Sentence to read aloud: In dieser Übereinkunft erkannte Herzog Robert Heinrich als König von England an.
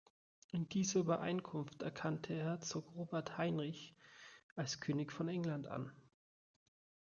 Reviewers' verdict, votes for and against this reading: rejected, 1, 2